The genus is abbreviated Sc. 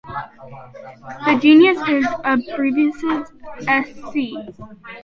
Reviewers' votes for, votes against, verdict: 1, 2, rejected